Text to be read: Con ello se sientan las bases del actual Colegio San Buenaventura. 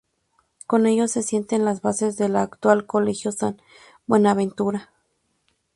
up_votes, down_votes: 2, 0